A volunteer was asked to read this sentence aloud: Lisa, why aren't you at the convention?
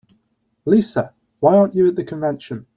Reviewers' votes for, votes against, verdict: 3, 1, accepted